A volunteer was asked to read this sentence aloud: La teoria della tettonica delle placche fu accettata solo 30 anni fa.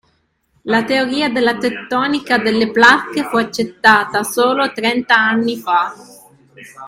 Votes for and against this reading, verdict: 0, 2, rejected